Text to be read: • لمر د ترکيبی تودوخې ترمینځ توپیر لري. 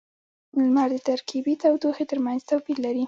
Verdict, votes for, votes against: rejected, 0, 2